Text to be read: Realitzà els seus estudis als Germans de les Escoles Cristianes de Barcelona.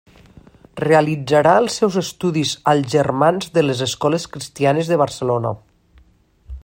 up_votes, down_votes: 0, 2